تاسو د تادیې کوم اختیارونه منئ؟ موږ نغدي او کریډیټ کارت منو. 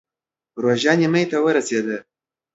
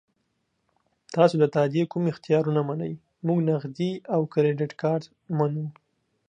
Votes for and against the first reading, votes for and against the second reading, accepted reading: 0, 2, 2, 0, second